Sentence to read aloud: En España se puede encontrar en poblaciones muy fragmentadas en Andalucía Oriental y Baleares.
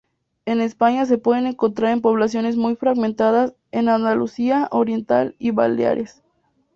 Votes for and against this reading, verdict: 0, 2, rejected